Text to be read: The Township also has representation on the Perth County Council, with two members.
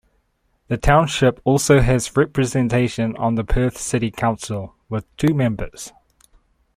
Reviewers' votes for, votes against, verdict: 1, 2, rejected